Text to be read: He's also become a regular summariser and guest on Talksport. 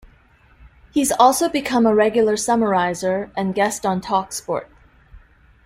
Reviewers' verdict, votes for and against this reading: accepted, 2, 0